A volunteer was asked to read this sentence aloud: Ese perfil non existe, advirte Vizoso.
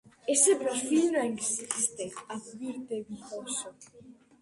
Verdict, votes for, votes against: rejected, 0, 2